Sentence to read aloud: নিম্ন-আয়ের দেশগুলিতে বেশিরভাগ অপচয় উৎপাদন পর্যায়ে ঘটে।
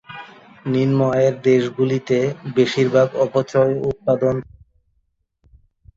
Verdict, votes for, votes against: rejected, 0, 2